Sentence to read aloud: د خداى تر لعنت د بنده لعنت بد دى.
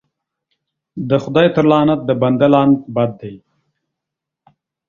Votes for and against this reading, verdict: 2, 0, accepted